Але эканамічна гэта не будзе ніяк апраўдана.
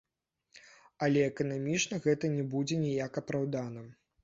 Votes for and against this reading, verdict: 0, 2, rejected